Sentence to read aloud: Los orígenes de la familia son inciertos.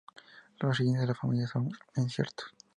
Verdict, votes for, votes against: rejected, 0, 2